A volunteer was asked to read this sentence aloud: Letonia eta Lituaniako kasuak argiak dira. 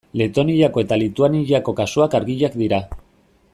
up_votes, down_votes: 0, 2